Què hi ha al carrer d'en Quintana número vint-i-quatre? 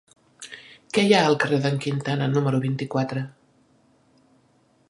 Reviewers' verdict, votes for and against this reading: accepted, 3, 0